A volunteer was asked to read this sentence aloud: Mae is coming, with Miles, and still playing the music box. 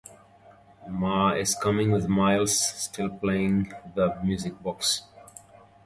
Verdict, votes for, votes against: rejected, 0, 2